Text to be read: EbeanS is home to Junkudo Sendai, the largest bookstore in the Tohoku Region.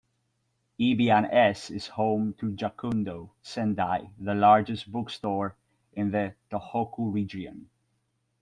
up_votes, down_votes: 2, 1